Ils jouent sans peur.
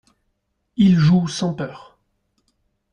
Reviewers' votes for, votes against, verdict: 2, 0, accepted